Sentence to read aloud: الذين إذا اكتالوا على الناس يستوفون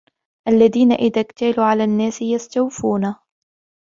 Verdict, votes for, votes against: accepted, 2, 0